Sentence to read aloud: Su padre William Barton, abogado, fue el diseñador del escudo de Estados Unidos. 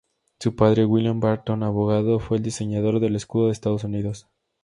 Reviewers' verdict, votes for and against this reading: accepted, 2, 0